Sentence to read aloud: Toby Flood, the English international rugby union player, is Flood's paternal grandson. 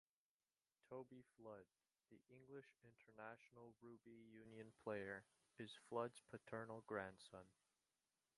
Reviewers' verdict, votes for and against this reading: rejected, 0, 2